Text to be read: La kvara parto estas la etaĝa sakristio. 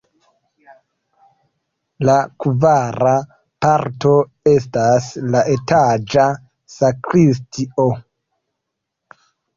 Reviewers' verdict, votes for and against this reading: rejected, 0, 2